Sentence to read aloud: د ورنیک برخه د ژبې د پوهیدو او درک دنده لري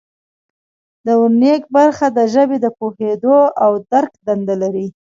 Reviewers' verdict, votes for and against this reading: rejected, 0, 2